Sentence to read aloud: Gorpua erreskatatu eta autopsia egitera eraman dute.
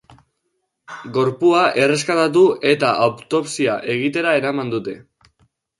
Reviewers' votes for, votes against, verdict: 2, 0, accepted